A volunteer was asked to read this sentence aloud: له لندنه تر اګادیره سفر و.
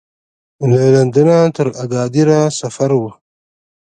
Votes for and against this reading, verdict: 1, 2, rejected